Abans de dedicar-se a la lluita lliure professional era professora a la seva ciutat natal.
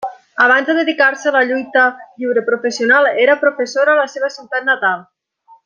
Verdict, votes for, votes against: rejected, 1, 2